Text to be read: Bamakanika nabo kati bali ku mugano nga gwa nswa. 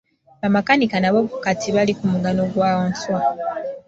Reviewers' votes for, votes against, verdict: 0, 2, rejected